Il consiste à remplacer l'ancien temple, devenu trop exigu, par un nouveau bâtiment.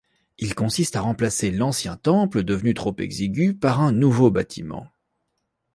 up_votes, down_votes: 2, 0